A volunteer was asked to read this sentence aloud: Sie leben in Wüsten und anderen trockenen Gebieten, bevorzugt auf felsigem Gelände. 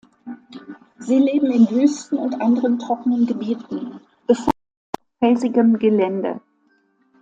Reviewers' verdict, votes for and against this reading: rejected, 0, 2